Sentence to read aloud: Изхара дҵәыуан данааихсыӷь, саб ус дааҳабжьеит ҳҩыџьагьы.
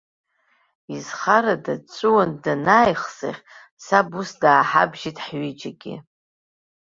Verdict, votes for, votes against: rejected, 0, 2